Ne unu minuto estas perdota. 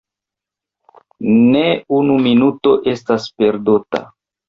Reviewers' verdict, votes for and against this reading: accepted, 2, 1